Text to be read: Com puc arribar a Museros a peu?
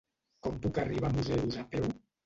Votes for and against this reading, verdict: 0, 2, rejected